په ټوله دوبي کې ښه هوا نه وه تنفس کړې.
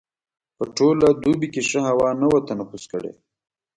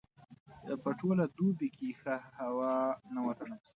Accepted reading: first